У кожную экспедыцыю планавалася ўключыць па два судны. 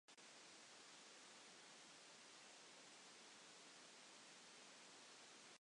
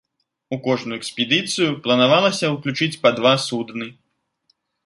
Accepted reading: second